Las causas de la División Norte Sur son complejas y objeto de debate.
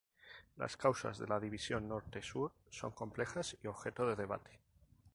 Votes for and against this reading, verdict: 2, 2, rejected